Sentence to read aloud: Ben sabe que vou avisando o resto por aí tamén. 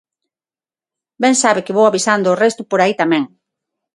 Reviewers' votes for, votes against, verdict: 6, 0, accepted